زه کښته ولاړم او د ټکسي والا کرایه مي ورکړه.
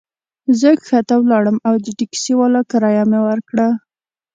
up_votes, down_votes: 2, 0